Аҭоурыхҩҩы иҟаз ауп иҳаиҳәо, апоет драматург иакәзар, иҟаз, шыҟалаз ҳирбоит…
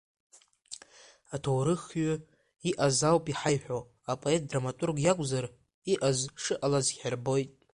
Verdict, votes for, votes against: accepted, 2, 0